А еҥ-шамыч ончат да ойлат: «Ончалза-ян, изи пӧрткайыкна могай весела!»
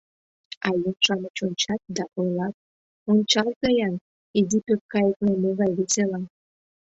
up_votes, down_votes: 2, 0